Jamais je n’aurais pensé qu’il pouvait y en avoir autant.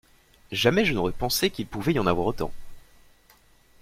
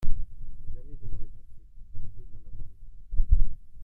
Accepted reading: first